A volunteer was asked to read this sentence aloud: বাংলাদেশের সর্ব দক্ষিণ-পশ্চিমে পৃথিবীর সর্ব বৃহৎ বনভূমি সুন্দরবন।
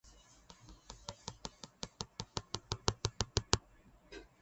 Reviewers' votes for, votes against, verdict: 0, 2, rejected